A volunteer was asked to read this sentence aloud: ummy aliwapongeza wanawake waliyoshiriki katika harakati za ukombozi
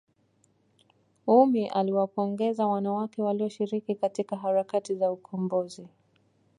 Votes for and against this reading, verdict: 2, 0, accepted